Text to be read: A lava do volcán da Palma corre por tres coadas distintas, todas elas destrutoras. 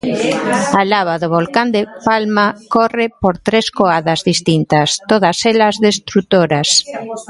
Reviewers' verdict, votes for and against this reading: rejected, 0, 2